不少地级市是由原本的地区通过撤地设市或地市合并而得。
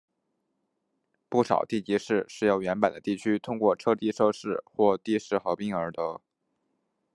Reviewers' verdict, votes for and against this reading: accepted, 2, 0